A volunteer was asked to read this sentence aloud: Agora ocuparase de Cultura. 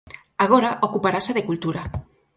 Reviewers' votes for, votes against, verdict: 8, 0, accepted